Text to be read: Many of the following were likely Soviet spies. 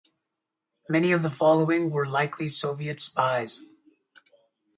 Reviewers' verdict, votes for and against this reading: accepted, 4, 0